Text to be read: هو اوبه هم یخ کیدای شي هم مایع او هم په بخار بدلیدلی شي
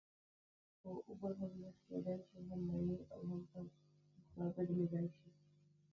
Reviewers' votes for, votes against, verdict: 0, 2, rejected